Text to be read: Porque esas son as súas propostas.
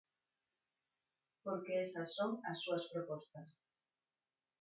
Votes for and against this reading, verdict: 0, 4, rejected